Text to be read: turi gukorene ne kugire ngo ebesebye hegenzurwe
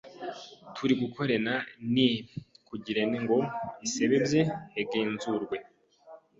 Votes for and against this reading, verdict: 0, 2, rejected